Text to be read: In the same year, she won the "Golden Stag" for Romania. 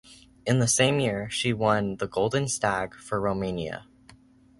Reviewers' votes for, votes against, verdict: 2, 0, accepted